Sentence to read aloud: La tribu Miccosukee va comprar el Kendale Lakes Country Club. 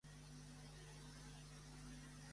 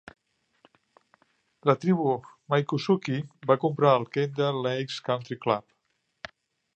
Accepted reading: second